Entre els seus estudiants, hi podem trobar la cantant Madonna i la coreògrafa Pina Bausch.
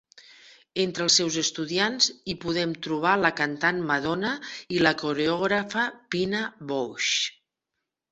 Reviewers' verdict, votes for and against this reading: accepted, 2, 1